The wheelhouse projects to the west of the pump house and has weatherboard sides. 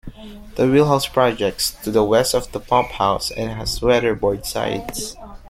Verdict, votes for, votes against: rejected, 1, 2